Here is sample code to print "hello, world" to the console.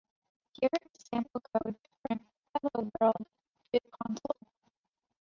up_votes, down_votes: 2, 0